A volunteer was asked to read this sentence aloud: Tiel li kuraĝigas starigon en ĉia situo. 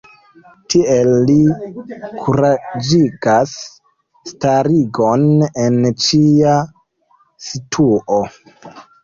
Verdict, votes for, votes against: accepted, 2, 0